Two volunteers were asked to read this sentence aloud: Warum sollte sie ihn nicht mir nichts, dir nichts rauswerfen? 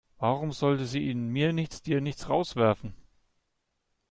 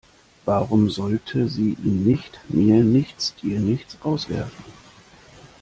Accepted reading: second